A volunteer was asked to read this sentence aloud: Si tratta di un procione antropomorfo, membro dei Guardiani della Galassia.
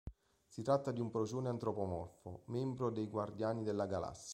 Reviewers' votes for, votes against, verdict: 0, 2, rejected